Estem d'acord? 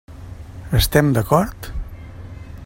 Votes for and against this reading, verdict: 3, 0, accepted